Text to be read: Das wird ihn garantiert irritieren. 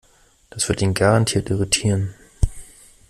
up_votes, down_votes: 2, 0